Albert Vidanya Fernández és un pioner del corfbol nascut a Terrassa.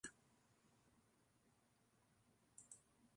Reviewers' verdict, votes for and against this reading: rejected, 0, 2